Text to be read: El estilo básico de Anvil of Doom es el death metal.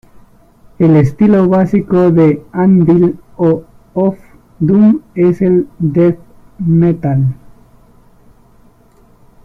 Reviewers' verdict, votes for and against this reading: rejected, 1, 2